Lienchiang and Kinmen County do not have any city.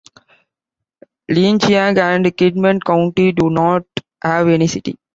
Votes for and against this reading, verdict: 0, 2, rejected